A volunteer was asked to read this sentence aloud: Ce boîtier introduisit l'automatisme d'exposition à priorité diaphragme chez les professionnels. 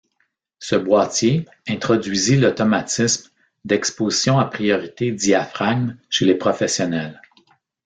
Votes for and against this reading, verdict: 0, 2, rejected